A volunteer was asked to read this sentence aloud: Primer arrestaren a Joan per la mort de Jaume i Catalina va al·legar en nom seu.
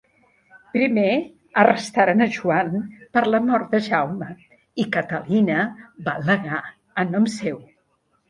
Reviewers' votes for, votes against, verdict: 0, 2, rejected